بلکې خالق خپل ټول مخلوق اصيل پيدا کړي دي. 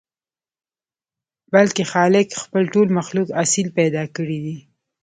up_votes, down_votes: 3, 0